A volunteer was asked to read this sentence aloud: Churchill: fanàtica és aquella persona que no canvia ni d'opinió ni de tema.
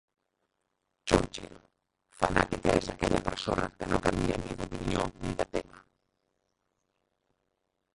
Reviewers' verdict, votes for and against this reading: rejected, 0, 2